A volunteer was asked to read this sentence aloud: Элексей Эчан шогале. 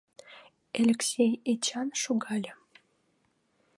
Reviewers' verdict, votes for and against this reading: accepted, 2, 0